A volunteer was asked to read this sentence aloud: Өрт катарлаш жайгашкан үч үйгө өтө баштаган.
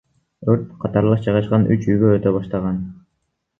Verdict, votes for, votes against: accepted, 2, 1